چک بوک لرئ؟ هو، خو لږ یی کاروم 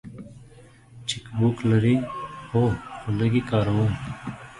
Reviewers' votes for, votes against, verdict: 0, 2, rejected